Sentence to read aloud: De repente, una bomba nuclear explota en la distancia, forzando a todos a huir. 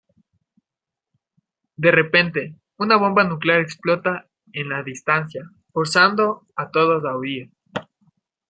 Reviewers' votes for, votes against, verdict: 1, 2, rejected